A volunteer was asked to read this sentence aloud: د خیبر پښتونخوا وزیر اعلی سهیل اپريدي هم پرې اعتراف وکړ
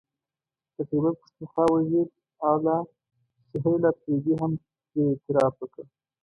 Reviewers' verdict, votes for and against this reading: rejected, 1, 2